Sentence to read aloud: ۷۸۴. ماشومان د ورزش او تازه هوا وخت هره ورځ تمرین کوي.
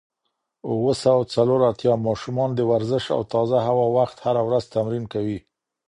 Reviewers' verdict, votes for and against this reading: rejected, 0, 2